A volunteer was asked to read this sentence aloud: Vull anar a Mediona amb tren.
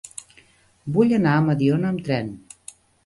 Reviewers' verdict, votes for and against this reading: accepted, 3, 0